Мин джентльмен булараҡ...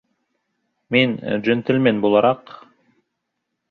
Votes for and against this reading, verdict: 3, 0, accepted